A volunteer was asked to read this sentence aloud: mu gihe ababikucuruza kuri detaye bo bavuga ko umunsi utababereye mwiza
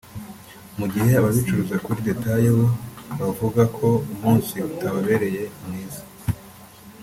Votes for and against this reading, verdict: 2, 0, accepted